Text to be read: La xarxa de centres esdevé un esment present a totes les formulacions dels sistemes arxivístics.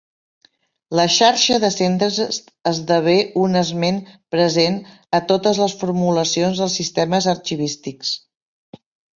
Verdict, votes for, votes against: rejected, 1, 2